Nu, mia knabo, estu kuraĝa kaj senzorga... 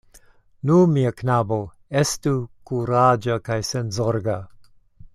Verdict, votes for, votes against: accepted, 2, 0